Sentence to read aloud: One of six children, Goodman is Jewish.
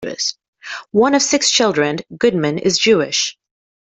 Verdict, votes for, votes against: rejected, 1, 2